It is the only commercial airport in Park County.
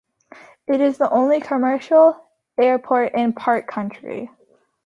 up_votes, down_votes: 0, 2